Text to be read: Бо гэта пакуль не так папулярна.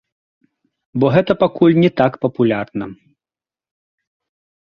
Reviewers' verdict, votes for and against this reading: accepted, 2, 0